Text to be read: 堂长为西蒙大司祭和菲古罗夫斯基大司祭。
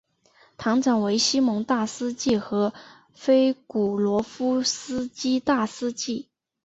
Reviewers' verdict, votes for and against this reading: accepted, 2, 0